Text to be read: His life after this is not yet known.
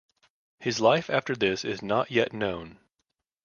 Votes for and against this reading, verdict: 2, 0, accepted